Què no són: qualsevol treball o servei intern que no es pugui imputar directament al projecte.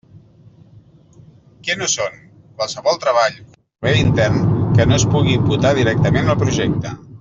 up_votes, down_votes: 0, 2